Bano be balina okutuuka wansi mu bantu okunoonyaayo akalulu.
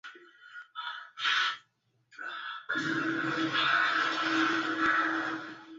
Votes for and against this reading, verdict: 0, 2, rejected